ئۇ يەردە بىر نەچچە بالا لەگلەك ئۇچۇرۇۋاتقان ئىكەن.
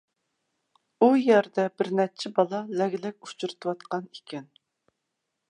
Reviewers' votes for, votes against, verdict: 0, 2, rejected